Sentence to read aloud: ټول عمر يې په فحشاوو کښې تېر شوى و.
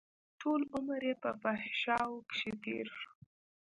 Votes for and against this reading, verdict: 1, 2, rejected